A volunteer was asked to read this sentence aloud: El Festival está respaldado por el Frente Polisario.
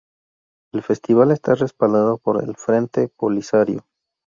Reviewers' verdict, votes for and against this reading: rejected, 2, 2